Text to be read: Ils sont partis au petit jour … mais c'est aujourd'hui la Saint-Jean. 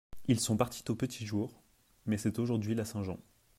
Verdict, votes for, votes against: rejected, 1, 2